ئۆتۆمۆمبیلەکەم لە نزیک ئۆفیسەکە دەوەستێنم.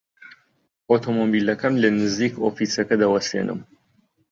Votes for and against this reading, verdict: 2, 1, accepted